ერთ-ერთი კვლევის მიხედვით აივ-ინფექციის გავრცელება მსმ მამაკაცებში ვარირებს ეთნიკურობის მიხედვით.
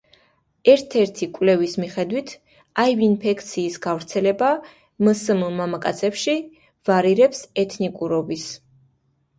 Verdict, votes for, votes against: accepted, 2, 1